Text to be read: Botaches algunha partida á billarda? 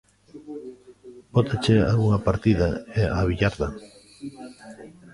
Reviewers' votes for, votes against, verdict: 0, 2, rejected